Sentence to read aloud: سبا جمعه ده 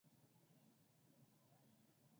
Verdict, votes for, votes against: rejected, 0, 2